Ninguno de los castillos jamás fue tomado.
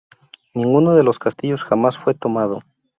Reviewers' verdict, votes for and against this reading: accepted, 2, 0